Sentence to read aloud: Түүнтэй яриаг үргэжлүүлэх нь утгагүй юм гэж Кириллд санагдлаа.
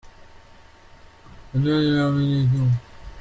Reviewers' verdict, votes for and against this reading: rejected, 0, 2